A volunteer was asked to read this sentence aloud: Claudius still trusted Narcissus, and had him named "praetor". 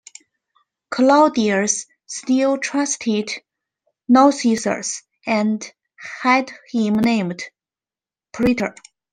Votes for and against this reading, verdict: 2, 0, accepted